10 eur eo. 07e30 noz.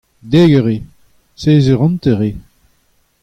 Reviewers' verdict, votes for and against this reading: rejected, 0, 2